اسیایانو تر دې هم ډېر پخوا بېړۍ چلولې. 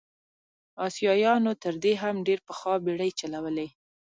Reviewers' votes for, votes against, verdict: 3, 2, accepted